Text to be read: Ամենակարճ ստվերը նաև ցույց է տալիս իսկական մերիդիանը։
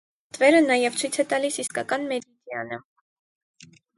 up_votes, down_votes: 2, 4